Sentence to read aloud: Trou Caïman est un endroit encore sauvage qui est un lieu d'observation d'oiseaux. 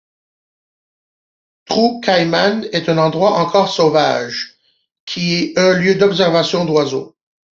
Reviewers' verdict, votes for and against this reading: accepted, 2, 0